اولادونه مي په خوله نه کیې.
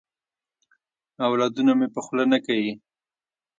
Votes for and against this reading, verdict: 1, 2, rejected